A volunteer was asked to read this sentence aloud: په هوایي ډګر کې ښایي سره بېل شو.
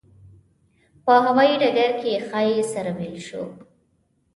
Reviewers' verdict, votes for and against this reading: rejected, 0, 2